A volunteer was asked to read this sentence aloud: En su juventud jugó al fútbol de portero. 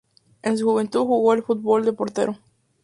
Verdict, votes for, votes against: rejected, 2, 2